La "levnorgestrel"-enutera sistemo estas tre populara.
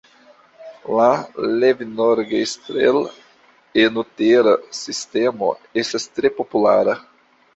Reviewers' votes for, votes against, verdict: 3, 1, accepted